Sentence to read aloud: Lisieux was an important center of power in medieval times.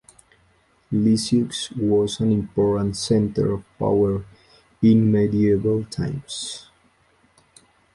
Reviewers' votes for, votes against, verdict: 2, 1, accepted